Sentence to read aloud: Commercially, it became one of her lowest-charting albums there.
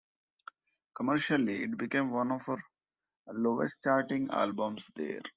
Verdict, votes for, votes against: rejected, 0, 2